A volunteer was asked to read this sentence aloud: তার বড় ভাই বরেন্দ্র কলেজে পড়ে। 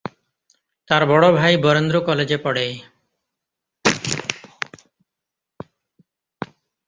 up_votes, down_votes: 2, 0